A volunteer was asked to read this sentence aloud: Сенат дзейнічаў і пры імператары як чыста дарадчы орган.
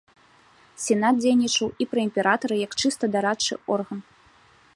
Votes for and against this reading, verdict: 2, 0, accepted